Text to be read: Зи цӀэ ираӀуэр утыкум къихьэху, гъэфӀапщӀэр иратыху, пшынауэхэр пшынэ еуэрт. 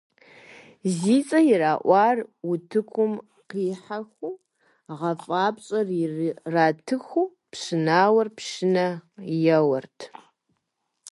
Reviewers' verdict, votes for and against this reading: accepted, 2, 0